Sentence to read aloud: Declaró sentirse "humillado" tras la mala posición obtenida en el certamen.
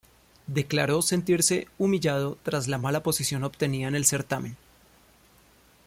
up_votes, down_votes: 2, 0